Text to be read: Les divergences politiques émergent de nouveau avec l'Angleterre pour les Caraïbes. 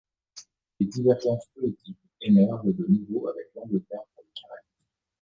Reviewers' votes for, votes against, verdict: 1, 2, rejected